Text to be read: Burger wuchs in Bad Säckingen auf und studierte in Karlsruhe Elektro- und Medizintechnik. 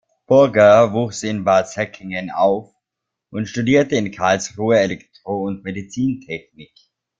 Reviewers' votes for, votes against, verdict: 2, 1, accepted